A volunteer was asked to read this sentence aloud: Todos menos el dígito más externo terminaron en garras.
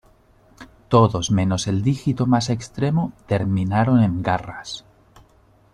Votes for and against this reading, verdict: 1, 2, rejected